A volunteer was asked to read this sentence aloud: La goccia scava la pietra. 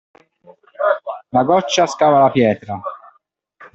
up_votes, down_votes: 2, 1